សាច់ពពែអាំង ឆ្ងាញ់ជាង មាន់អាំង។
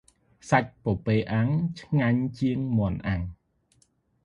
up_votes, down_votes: 2, 0